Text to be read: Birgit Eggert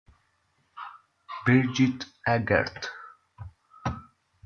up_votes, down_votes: 2, 0